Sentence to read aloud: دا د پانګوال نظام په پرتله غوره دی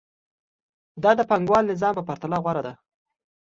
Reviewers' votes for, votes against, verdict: 2, 0, accepted